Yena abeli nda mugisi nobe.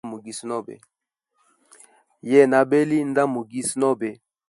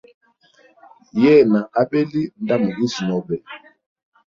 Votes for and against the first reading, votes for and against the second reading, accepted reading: 1, 2, 2, 0, second